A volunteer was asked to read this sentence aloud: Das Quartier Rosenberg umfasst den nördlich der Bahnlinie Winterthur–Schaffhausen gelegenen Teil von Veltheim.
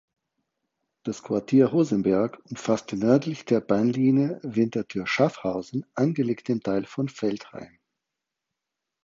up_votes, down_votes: 0, 4